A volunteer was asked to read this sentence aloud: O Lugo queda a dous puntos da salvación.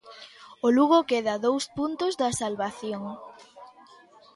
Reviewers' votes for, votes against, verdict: 1, 2, rejected